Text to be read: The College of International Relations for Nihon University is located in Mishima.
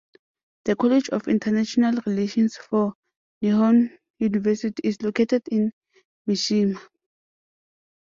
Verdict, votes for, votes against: accepted, 2, 1